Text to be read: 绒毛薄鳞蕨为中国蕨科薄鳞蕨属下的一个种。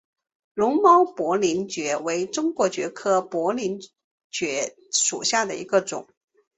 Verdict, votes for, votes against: accepted, 3, 1